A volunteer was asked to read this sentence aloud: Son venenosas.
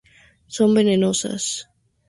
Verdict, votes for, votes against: accepted, 2, 0